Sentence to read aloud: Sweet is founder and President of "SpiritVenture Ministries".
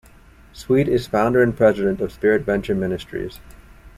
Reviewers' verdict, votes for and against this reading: accepted, 2, 0